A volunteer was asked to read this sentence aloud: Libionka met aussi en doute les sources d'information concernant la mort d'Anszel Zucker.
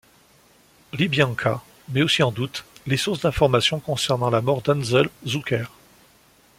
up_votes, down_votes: 2, 0